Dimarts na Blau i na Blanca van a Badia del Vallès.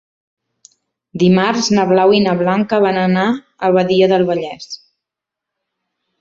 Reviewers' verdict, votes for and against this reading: rejected, 1, 2